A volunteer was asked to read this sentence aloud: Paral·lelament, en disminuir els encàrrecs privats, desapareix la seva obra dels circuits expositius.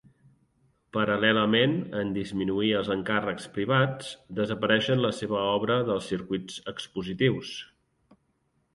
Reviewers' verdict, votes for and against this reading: rejected, 0, 2